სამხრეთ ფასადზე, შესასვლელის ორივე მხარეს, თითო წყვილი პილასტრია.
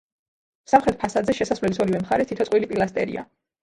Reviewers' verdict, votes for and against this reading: accepted, 2, 0